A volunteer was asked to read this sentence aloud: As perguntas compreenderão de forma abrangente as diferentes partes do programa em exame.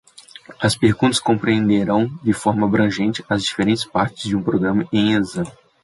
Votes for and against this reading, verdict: 0, 2, rejected